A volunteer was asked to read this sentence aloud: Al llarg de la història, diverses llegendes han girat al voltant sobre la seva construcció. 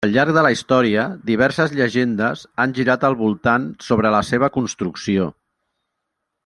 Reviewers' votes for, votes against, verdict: 3, 0, accepted